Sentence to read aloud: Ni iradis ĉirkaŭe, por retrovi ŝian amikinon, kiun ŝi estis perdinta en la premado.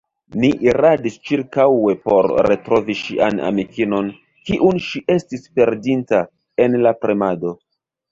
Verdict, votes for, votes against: rejected, 1, 2